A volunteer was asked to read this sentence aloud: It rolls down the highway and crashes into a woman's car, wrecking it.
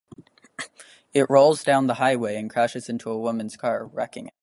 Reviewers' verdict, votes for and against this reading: rejected, 0, 3